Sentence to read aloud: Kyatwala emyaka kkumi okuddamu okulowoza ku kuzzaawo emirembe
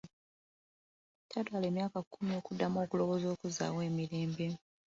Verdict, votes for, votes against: accepted, 2, 0